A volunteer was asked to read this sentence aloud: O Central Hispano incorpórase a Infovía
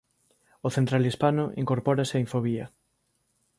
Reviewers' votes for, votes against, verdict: 2, 0, accepted